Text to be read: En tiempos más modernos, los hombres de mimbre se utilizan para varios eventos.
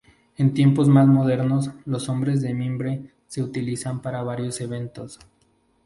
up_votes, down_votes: 4, 0